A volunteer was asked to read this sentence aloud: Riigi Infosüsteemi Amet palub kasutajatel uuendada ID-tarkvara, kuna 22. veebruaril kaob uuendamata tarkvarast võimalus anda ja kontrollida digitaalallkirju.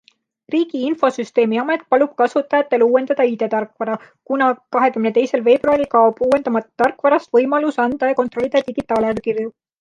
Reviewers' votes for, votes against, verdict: 0, 2, rejected